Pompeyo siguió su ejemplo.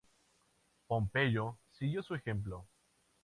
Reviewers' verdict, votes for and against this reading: rejected, 0, 2